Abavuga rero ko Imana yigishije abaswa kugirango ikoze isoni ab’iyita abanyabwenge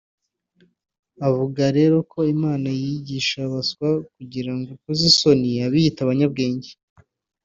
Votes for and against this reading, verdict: 1, 2, rejected